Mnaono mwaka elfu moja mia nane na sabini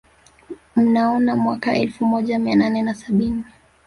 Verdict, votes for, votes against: accepted, 2, 1